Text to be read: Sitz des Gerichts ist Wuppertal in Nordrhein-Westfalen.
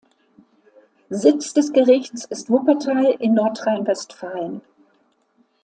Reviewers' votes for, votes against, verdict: 2, 0, accepted